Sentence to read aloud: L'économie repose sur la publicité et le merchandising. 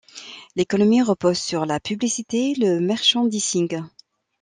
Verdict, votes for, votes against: rejected, 1, 2